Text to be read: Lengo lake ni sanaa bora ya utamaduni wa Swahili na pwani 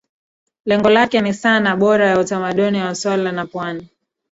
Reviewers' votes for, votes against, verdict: 0, 2, rejected